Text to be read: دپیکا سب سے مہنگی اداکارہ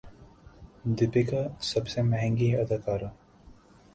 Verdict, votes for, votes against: accepted, 2, 0